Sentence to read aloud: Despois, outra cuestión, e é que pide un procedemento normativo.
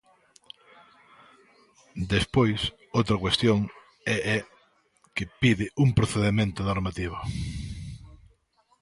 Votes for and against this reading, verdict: 0, 2, rejected